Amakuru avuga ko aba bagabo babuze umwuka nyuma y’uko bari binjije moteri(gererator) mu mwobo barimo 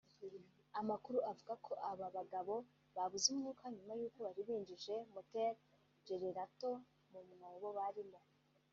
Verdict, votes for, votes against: rejected, 0, 2